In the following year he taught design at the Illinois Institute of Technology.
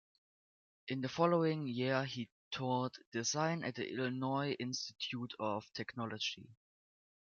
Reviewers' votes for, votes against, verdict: 2, 1, accepted